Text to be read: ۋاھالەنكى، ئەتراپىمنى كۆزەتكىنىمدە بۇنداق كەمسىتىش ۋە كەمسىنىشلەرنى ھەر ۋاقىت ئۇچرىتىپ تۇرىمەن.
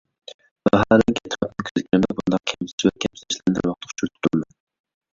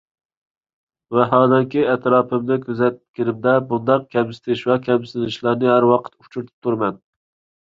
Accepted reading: second